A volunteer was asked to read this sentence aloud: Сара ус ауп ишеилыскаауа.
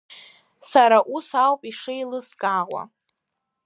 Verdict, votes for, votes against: accepted, 2, 0